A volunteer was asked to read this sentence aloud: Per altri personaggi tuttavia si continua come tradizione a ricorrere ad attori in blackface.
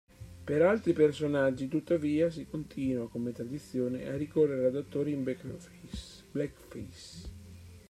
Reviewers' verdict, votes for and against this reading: rejected, 1, 2